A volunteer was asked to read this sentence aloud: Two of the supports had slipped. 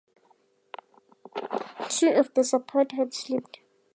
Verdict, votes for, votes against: accepted, 2, 0